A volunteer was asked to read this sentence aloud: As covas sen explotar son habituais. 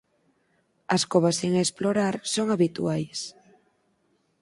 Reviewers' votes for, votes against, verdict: 0, 4, rejected